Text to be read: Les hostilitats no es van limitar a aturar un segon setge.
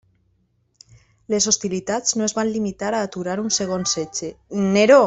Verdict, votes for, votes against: rejected, 0, 2